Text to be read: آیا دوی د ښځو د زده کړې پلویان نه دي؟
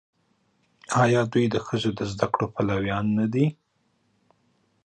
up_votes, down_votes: 2, 1